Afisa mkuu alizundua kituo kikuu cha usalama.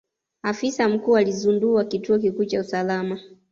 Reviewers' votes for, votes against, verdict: 2, 1, accepted